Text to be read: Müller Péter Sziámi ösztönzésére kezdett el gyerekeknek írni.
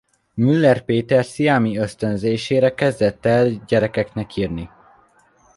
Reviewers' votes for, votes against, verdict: 2, 0, accepted